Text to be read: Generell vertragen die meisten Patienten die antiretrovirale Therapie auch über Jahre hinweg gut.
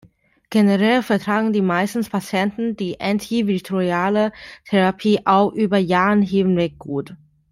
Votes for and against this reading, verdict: 0, 2, rejected